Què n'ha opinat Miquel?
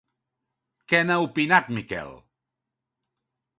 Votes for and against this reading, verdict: 2, 0, accepted